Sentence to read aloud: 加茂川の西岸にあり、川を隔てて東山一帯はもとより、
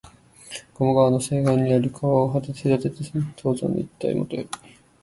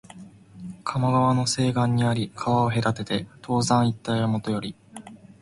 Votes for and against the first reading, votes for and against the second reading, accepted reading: 0, 3, 12, 6, second